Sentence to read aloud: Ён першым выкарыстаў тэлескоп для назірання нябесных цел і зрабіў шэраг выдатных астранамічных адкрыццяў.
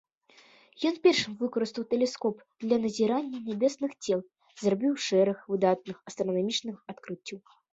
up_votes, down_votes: 2, 0